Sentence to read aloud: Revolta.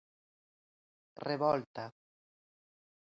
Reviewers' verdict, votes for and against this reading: accepted, 2, 0